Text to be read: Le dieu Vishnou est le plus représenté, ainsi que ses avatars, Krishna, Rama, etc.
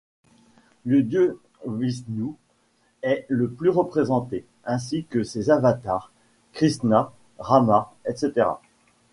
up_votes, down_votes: 0, 2